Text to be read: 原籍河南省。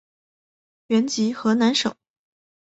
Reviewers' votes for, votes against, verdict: 3, 0, accepted